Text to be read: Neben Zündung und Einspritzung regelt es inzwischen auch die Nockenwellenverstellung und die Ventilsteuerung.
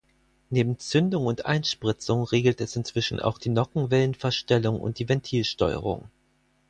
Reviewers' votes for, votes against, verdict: 4, 0, accepted